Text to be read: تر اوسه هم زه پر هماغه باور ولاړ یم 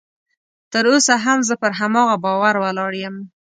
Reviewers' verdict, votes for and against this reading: accepted, 3, 0